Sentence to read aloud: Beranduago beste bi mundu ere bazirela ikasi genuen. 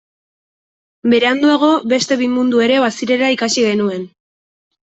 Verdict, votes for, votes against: accepted, 2, 0